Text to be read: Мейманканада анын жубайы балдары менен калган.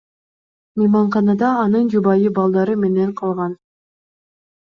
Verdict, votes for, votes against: accepted, 2, 0